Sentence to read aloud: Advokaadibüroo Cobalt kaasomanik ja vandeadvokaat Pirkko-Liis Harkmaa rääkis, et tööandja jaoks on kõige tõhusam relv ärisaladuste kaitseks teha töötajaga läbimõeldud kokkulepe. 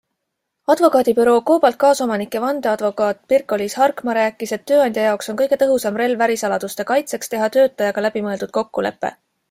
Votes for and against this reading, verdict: 2, 0, accepted